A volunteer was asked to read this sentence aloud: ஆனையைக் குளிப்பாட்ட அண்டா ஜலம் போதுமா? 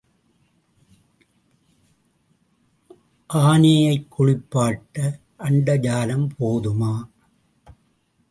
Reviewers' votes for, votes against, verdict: 0, 2, rejected